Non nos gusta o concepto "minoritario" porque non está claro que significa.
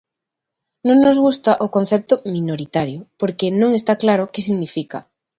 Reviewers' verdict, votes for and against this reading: accepted, 2, 0